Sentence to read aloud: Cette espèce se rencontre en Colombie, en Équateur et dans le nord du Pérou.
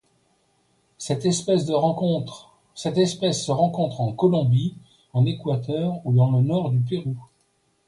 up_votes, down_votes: 1, 2